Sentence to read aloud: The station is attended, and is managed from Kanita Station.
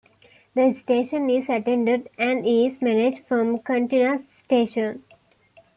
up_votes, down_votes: 0, 2